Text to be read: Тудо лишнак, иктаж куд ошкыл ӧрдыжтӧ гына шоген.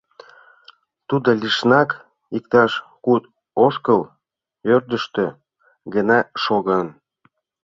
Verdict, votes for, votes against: rejected, 0, 2